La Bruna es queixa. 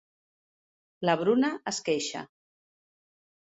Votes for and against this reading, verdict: 2, 0, accepted